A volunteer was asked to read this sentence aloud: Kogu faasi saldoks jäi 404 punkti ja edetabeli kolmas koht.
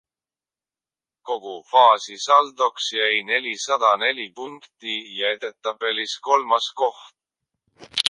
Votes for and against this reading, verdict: 0, 2, rejected